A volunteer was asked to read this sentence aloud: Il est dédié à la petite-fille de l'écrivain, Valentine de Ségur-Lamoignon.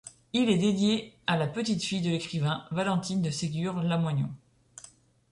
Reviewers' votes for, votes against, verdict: 2, 0, accepted